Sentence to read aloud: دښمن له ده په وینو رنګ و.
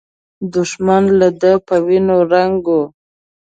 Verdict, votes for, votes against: accepted, 2, 0